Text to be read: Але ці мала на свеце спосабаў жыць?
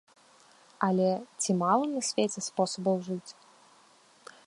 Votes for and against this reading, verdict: 2, 0, accepted